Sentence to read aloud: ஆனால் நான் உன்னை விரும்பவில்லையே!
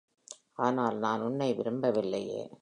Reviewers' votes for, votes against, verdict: 2, 0, accepted